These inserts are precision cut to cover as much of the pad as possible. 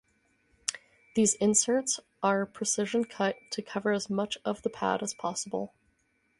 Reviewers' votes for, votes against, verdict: 4, 0, accepted